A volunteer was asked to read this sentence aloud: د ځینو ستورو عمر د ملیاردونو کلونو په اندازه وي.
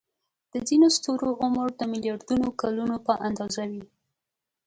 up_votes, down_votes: 2, 0